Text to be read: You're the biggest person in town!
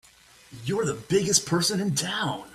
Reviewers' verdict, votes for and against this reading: accepted, 2, 0